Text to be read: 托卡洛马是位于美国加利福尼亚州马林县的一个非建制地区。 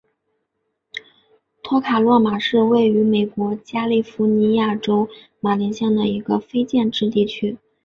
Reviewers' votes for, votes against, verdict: 5, 0, accepted